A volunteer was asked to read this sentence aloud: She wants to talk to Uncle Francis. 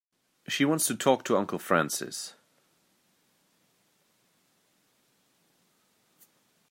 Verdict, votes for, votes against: accepted, 2, 0